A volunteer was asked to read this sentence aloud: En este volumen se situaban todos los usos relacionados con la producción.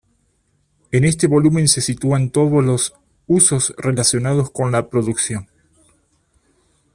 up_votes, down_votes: 2, 1